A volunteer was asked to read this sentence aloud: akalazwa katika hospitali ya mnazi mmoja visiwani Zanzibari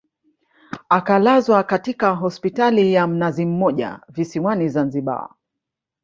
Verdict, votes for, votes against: rejected, 1, 2